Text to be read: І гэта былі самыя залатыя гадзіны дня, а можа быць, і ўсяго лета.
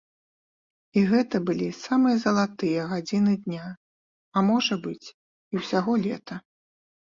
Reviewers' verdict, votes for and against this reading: accepted, 2, 0